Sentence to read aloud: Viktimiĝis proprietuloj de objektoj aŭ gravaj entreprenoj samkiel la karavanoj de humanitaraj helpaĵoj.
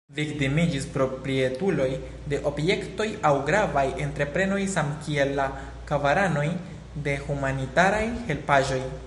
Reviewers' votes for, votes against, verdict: 1, 2, rejected